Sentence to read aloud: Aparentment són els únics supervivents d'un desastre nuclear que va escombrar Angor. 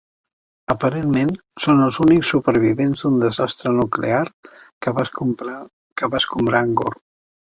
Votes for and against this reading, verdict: 0, 2, rejected